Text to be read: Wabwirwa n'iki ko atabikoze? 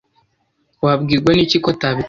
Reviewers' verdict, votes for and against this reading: rejected, 0, 2